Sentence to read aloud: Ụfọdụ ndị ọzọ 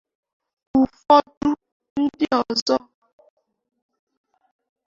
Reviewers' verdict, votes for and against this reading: rejected, 0, 2